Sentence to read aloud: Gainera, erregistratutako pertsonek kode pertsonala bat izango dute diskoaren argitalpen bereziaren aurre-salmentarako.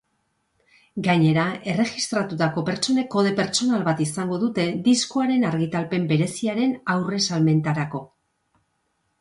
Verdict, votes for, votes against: accepted, 3, 0